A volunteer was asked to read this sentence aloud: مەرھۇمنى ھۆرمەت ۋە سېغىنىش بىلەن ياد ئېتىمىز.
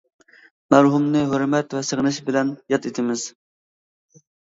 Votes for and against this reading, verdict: 2, 0, accepted